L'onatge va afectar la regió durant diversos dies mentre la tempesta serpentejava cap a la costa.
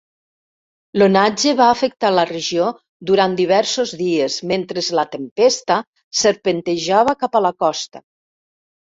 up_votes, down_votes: 1, 2